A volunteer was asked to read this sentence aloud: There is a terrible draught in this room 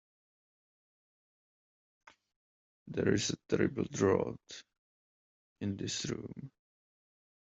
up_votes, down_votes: 2, 1